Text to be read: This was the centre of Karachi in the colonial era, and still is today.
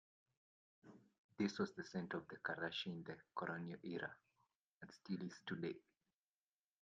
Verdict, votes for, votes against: accepted, 2, 0